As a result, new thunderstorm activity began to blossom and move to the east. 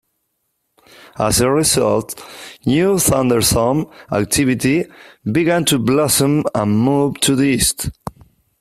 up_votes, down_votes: 2, 0